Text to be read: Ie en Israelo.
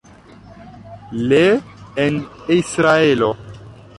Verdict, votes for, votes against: rejected, 0, 2